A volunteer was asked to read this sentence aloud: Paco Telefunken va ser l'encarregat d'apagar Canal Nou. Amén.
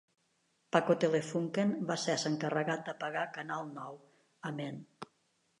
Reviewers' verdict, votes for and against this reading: rejected, 0, 2